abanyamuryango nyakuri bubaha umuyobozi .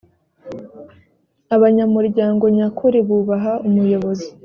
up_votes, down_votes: 2, 0